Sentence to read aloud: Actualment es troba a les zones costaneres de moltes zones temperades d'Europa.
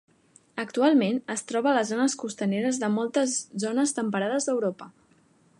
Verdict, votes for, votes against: accepted, 3, 0